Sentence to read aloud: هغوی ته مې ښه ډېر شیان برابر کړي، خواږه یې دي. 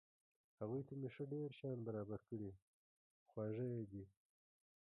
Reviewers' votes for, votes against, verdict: 0, 2, rejected